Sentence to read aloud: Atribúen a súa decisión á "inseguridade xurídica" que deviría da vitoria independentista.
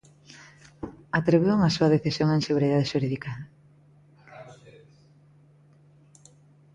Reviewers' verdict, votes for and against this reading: rejected, 0, 2